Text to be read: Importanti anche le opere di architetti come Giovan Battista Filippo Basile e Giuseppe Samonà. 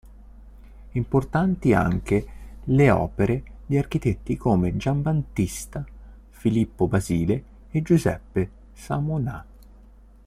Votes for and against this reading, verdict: 1, 2, rejected